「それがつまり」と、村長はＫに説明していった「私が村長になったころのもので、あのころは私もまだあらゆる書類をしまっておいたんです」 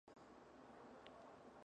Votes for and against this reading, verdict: 1, 2, rejected